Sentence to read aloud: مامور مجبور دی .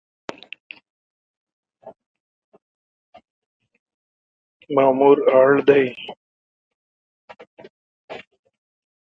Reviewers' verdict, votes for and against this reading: rejected, 1, 2